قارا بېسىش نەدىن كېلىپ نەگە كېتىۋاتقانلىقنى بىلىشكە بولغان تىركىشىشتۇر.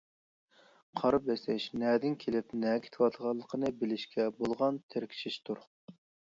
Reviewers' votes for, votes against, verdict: 0, 2, rejected